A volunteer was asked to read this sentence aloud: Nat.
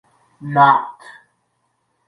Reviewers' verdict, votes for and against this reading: accepted, 2, 1